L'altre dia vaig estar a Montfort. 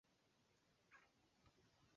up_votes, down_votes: 0, 2